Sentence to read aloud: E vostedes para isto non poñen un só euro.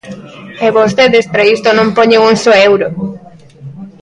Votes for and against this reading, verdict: 0, 2, rejected